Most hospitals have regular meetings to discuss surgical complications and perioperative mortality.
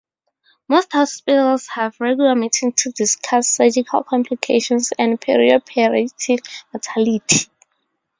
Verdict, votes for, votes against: accepted, 4, 2